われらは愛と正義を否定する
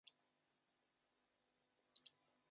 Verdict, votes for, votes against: rejected, 0, 2